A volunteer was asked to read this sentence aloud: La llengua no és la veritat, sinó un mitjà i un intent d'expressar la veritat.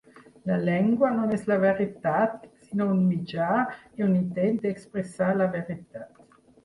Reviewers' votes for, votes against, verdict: 6, 0, accepted